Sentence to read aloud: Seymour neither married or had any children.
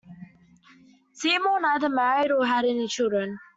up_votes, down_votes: 2, 0